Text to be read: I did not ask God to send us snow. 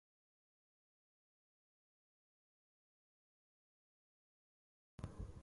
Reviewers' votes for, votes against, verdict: 0, 4, rejected